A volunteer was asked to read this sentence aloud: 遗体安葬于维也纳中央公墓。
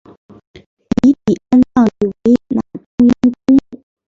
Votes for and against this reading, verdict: 0, 2, rejected